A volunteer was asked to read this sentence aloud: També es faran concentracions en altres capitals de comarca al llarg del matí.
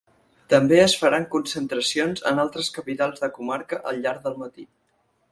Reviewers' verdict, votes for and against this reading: accepted, 8, 0